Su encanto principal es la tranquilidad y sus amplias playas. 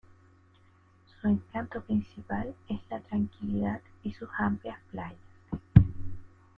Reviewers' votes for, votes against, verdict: 1, 2, rejected